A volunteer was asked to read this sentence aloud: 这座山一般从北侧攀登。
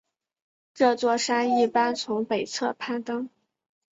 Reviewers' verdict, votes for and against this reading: accepted, 2, 0